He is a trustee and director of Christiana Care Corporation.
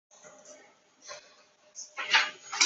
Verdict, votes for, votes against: rejected, 0, 3